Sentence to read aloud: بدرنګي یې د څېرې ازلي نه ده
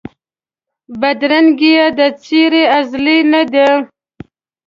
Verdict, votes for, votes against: rejected, 0, 2